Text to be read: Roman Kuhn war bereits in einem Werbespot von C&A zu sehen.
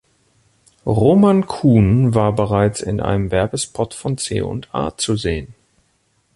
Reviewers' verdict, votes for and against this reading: accepted, 2, 0